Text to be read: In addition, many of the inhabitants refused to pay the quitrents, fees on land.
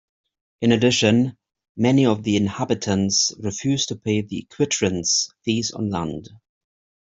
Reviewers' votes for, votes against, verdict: 2, 0, accepted